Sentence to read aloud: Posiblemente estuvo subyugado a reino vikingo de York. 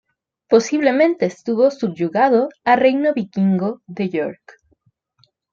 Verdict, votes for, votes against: accepted, 2, 0